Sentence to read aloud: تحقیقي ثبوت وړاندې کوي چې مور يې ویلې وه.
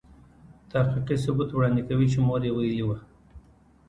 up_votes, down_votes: 2, 0